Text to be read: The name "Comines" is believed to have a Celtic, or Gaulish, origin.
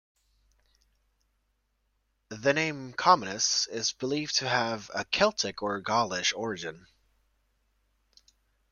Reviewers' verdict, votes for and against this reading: rejected, 1, 2